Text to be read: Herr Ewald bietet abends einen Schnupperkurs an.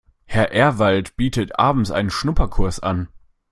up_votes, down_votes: 0, 2